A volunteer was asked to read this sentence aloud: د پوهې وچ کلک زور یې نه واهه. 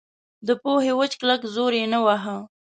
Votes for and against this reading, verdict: 2, 0, accepted